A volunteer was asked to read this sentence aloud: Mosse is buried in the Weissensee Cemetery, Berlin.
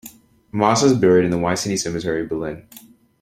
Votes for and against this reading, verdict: 2, 0, accepted